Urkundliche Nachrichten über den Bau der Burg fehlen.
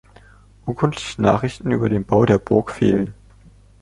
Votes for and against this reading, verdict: 2, 0, accepted